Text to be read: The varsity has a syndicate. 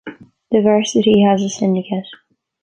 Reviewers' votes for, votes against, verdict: 3, 0, accepted